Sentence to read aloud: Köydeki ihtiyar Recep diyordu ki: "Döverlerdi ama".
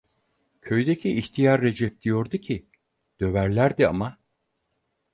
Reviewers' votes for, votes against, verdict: 4, 0, accepted